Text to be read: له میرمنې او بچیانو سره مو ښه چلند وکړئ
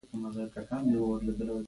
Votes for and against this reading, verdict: 1, 2, rejected